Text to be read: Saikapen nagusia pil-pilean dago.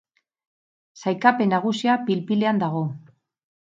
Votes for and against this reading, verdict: 4, 0, accepted